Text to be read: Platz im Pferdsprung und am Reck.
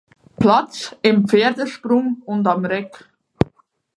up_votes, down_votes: 2, 4